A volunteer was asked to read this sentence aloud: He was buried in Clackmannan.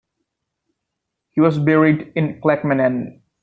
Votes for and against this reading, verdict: 2, 0, accepted